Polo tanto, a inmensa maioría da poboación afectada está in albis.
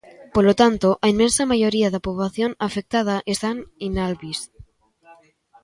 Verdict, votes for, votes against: rejected, 0, 2